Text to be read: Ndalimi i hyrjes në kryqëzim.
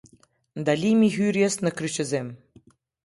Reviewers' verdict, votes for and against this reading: accepted, 2, 0